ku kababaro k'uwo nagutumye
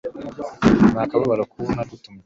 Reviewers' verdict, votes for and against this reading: accepted, 3, 2